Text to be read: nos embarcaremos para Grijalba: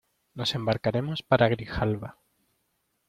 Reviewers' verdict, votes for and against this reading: accepted, 2, 0